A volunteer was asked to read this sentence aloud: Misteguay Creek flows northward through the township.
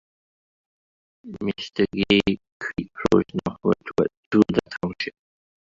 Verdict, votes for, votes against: rejected, 1, 7